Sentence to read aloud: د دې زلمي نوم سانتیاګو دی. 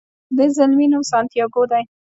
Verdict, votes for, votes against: accepted, 2, 0